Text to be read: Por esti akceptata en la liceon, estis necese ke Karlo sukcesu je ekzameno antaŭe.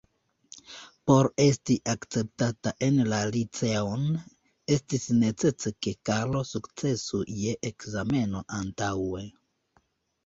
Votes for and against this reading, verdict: 2, 0, accepted